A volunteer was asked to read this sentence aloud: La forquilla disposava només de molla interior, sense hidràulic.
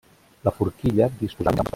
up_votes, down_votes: 0, 2